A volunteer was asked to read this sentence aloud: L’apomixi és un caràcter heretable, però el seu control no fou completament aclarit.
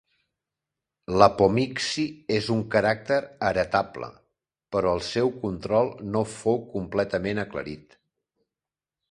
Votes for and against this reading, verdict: 2, 0, accepted